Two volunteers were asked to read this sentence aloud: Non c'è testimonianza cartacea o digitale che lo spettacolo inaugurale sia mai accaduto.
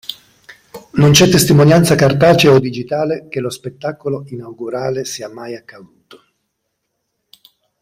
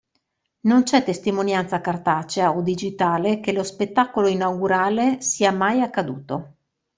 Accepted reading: second